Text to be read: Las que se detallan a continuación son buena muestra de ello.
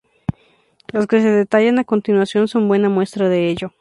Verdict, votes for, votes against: rejected, 2, 4